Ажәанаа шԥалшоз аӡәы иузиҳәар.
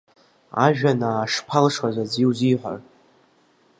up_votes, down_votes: 2, 0